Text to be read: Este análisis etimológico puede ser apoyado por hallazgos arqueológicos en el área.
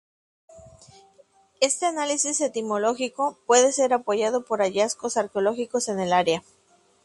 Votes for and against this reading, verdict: 2, 0, accepted